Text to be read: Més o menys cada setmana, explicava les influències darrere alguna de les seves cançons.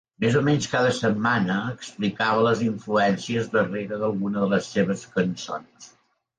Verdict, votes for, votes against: rejected, 0, 2